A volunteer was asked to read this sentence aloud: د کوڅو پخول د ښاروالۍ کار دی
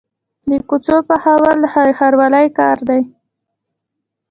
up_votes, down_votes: 2, 1